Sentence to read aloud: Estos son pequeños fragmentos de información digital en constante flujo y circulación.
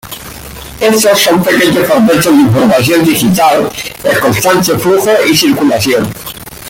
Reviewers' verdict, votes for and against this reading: accepted, 2, 1